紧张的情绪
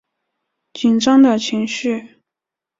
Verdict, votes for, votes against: accepted, 6, 0